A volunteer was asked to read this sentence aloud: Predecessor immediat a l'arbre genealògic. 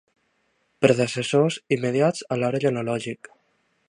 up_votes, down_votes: 1, 2